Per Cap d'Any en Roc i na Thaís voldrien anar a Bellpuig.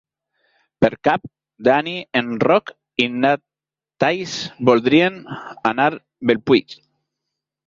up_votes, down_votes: 0, 2